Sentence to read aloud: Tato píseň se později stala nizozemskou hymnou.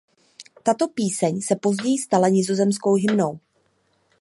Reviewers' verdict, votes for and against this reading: accepted, 2, 0